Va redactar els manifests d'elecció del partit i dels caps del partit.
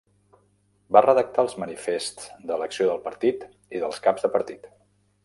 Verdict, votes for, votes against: rejected, 1, 2